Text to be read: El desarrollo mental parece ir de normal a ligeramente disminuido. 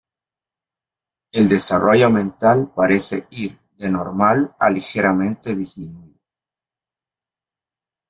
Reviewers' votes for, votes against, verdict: 0, 2, rejected